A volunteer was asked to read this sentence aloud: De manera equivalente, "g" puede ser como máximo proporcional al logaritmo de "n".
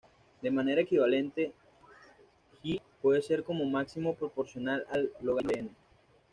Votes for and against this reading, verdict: 1, 2, rejected